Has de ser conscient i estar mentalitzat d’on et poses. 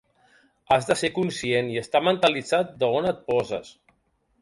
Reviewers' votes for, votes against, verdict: 0, 2, rejected